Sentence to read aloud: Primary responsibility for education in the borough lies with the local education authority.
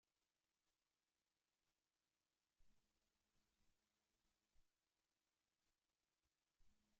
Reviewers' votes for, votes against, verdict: 0, 2, rejected